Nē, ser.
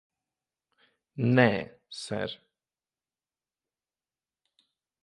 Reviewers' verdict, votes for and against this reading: rejected, 0, 2